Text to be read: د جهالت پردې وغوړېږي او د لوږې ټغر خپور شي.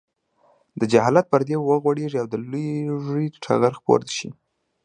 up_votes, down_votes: 2, 0